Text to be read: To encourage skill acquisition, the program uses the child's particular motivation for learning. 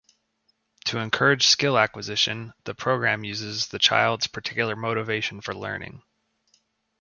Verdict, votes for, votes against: accepted, 2, 0